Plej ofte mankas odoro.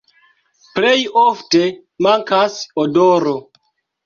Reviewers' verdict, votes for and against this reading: accepted, 4, 3